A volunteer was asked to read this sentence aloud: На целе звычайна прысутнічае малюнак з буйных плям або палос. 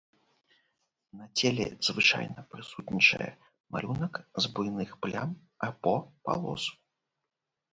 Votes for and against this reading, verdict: 2, 0, accepted